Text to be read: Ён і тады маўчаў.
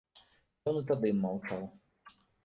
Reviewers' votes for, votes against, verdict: 0, 2, rejected